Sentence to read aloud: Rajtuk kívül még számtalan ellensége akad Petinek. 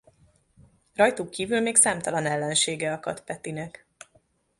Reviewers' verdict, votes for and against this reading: accepted, 2, 0